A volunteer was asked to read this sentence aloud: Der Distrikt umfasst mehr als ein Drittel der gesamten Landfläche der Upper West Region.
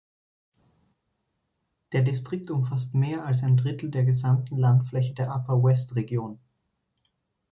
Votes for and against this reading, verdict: 2, 0, accepted